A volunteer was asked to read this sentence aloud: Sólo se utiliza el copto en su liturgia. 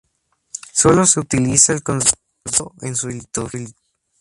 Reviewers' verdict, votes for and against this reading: rejected, 0, 4